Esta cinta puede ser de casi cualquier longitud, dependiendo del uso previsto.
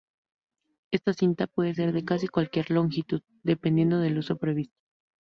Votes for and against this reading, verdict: 2, 0, accepted